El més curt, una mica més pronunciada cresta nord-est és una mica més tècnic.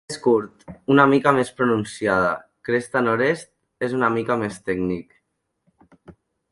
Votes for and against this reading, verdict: 0, 2, rejected